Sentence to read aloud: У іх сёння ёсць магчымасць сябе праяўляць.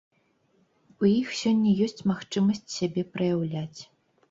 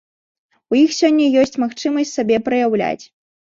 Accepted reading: first